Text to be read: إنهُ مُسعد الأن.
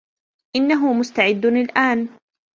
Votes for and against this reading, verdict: 0, 2, rejected